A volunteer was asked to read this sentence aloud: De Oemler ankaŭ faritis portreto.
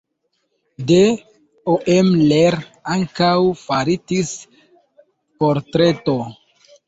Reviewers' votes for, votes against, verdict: 2, 1, accepted